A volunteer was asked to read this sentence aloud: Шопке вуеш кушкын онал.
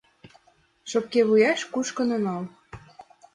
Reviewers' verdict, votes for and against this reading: accepted, 2, 0